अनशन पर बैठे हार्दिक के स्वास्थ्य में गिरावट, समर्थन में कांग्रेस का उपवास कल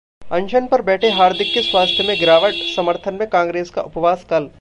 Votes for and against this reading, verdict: 2, 0, accepted